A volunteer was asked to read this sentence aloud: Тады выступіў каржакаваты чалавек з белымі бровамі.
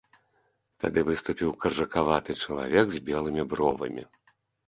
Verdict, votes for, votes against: accepted, 2, 0